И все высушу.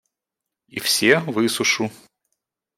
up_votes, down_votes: 2, 0